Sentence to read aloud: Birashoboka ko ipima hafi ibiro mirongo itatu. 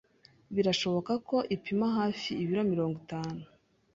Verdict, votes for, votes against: rejected, 0, 2